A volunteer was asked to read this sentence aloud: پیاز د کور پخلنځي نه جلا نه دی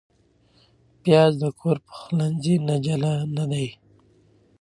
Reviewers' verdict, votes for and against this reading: accepted, 2, 0